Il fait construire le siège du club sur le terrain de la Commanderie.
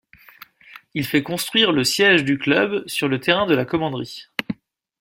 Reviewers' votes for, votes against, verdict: 2, 0, accepted